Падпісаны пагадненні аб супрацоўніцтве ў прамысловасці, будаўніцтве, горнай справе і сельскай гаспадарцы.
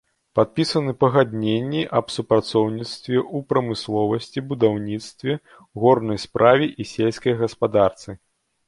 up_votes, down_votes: 2, 0